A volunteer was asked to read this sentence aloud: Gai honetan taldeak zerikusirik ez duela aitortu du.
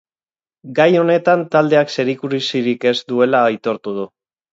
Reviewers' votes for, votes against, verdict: 0, 6, rejected